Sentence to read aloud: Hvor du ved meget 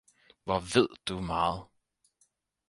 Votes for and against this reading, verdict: 2, 4, rejected